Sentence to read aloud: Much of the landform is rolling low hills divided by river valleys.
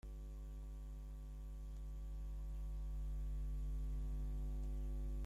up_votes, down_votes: 0, 2